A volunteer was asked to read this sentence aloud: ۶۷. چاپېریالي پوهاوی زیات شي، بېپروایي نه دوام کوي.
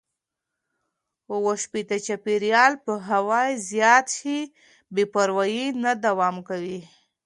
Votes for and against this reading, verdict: 0, 2, rejected